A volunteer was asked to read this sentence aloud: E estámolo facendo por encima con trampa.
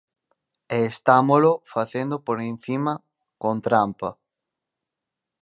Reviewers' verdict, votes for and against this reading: accepted, 4, 0